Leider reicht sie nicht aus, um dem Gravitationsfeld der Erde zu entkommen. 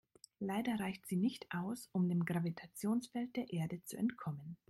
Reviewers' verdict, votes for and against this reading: accepted, 2, 0